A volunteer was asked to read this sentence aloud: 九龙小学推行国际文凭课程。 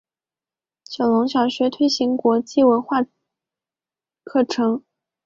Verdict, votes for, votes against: accepted, 2, 0